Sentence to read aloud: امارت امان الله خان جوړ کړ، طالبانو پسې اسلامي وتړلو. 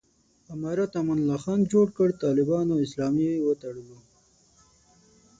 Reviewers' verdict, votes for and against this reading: rejected, 3, 6